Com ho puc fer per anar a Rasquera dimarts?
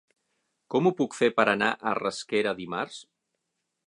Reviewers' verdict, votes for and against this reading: accepted, 6, 0